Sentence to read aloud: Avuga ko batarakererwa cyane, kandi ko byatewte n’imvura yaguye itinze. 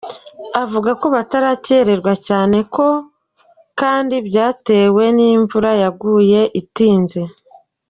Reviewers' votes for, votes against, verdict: 0, 2, rejected